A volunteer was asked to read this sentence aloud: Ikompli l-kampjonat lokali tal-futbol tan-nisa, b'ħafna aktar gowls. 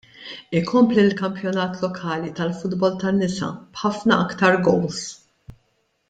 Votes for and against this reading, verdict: 2, 0, accepted